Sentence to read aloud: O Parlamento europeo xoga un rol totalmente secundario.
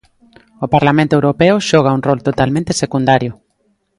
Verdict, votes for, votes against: accepted, 2, 0